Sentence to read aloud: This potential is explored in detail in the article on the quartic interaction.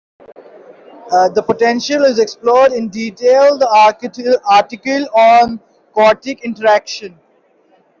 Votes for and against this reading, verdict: 1, 2, rejected